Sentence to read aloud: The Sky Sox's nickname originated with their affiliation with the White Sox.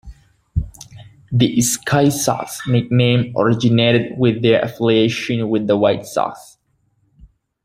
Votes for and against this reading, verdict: 1, 2, rejected